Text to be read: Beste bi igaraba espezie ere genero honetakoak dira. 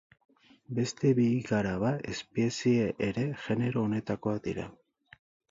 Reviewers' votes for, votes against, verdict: 4, 2, accepted